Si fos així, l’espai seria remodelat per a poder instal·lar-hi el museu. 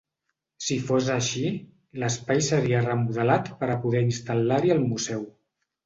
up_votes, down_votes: 2, 0